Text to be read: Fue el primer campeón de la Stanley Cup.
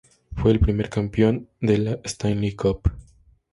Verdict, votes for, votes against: accepted, 2, 0